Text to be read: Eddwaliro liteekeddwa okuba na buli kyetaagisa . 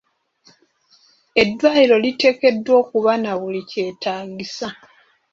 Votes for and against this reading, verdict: 0, 2, rejected